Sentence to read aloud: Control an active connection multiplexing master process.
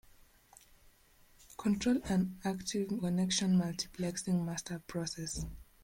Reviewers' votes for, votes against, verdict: 1, 2, rejected